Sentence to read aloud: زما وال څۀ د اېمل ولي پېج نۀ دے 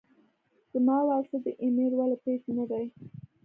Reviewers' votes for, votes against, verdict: 1, 2, rejected